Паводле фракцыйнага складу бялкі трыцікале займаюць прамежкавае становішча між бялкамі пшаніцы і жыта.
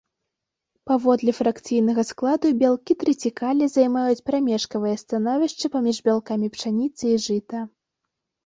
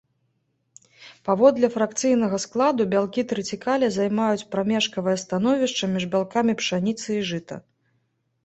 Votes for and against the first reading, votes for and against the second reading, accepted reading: 1, 2, 2, 0, second